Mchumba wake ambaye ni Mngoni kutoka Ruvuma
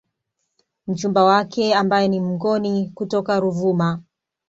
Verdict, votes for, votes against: accepted, 2, 0